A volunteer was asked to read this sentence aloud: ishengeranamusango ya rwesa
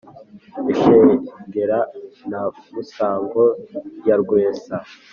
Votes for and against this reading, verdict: 4, 0, accepted